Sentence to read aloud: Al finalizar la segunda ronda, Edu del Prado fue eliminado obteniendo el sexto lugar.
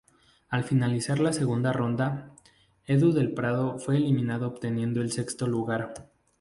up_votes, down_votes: 0, 2